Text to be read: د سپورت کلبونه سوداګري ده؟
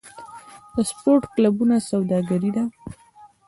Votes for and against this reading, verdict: 2, 0, accepted